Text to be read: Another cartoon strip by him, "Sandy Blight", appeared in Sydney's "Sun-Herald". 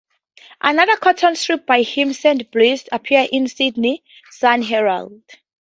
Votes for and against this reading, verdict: 2, 0, accepted